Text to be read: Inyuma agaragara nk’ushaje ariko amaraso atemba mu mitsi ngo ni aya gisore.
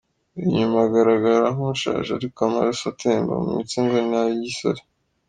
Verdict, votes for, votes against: rejected, 1, 3